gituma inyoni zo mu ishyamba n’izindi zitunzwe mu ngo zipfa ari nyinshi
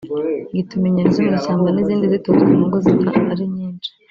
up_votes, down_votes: 1, 2